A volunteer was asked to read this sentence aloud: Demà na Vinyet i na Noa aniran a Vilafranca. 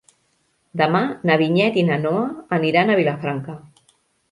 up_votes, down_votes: 3, 0